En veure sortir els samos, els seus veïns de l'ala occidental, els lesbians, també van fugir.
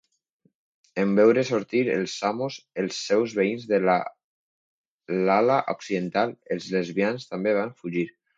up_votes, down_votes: 1, 2